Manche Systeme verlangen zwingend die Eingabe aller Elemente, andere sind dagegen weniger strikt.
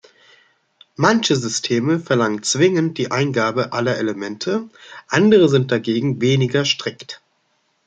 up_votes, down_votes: 2, 0